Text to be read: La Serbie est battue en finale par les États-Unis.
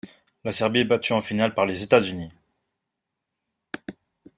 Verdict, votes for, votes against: accepted, 2, 0